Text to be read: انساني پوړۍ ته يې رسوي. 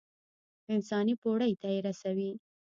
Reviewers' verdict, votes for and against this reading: rejected, 0, 2